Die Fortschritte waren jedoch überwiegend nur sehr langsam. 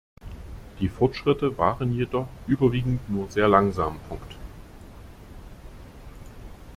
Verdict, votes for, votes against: rejected, 0, 2